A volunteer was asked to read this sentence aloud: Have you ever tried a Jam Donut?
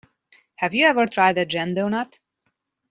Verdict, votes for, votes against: accepted, 2, 0